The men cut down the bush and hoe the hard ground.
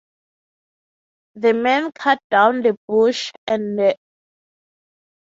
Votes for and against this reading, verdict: 0, 3, rejected